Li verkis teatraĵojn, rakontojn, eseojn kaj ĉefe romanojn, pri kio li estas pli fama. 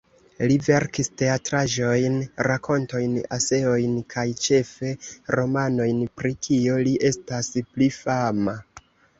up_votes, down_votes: 1, 2